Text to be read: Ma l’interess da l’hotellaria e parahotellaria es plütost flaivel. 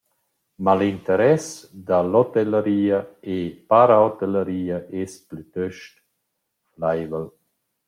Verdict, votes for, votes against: rejected, 0, 2